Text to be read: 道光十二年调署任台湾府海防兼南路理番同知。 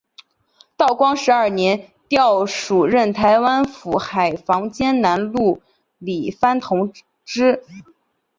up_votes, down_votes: 7, 0